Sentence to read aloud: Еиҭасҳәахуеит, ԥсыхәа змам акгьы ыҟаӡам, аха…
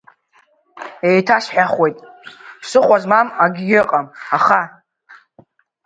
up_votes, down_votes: 0, 2